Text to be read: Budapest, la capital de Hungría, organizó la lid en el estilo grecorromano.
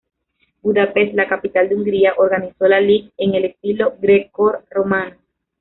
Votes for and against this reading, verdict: 0, 2, rejected